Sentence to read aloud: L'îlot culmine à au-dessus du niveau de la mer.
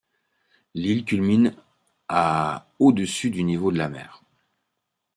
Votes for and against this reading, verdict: 1, 2, rejected